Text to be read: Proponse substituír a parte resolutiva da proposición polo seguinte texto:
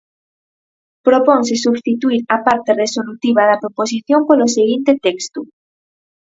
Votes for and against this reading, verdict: 4, 0, accepted